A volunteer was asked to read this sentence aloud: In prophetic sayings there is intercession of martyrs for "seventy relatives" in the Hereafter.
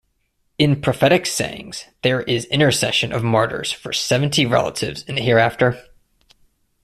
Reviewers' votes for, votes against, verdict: 0, 2, rejected